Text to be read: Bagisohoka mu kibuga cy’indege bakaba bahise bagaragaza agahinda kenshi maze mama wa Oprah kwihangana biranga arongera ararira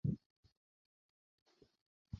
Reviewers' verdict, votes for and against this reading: rejected, 0, 2